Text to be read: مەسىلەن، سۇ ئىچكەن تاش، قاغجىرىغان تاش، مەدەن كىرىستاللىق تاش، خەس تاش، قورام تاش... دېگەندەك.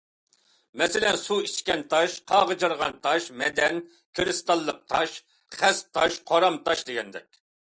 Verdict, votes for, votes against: accepted, 2, 0